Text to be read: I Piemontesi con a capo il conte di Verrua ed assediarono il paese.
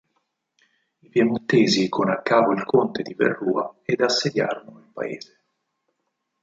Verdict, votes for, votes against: accepted, 4, 0